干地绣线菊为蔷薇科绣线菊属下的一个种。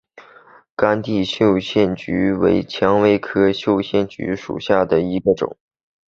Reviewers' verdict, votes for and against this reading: accepted, 2, 1